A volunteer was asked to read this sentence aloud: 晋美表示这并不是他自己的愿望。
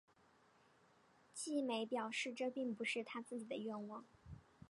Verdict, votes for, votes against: accepted, 5, 0